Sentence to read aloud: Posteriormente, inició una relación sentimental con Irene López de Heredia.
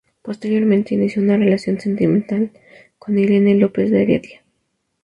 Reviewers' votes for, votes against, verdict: 2, 0, accepted